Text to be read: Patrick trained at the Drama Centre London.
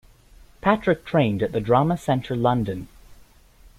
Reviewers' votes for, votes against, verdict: 2, 0, accepted